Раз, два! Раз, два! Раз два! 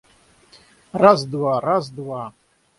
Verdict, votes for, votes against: rejected, 3, 6